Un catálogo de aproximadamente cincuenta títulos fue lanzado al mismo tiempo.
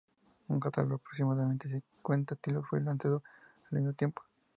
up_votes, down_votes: 2, 0